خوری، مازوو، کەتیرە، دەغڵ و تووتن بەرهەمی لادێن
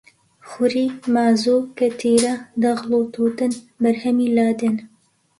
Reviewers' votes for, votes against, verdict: 2, 0, accepted